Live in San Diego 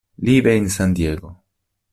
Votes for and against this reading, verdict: 1, 3, rejected